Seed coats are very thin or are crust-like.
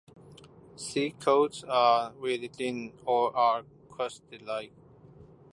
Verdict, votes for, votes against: rejected, 0, 2